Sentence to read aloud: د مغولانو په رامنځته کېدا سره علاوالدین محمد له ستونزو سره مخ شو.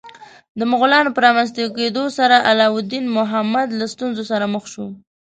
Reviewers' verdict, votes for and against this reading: rejected, 1, 2